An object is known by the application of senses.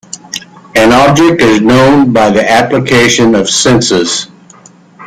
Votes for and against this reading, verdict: 2, 1, accepted